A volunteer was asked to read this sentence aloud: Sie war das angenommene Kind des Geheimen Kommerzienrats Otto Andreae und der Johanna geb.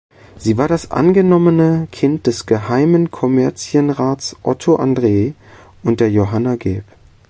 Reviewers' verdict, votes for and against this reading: rejected, 0, 2